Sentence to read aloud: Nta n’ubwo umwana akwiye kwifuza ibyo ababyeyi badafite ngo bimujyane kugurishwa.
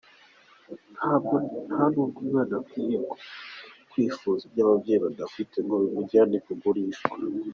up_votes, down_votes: 1, 2